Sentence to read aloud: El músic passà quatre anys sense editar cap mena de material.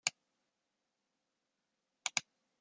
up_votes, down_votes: 0, 2